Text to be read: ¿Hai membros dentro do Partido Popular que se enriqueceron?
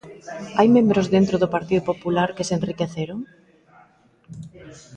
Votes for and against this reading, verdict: 2, 0, accepted